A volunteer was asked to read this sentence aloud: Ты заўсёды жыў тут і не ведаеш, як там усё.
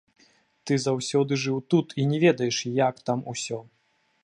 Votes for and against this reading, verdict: 2, 1, accepted